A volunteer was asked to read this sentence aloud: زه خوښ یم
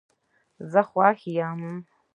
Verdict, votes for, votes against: rejected, 1, 2